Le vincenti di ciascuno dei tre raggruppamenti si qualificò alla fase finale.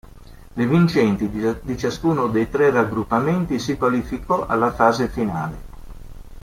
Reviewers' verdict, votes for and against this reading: rejected, 0, 2